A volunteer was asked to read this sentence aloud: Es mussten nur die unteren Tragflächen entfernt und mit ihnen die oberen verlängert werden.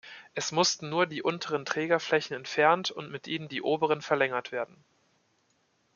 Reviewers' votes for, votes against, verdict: 1, 2, rejected